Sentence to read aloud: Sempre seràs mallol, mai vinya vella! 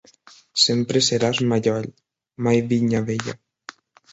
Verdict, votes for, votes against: accepted, 5, 0